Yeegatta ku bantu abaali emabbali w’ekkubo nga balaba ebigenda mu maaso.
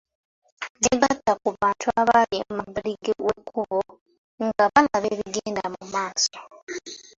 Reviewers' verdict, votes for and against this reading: accepted, 2, 1